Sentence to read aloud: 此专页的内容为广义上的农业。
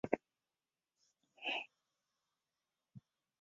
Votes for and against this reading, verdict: 1, 2, rejected